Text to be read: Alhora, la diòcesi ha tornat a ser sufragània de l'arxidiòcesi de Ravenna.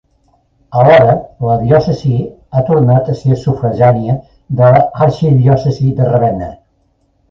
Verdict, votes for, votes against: rejected, 1, 2